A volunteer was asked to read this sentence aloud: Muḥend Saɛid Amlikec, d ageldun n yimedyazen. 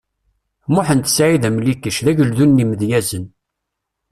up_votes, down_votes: 2, 0